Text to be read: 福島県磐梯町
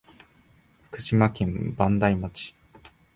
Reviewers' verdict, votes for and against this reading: accepted, 2, 0